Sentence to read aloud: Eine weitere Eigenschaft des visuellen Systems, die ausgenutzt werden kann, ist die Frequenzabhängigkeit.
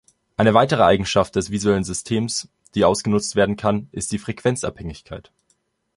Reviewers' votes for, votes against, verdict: 2, 0, accepted